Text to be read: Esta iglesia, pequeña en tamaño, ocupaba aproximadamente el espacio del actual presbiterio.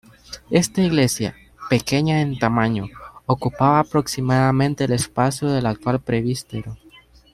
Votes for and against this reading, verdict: 0, 2, rejected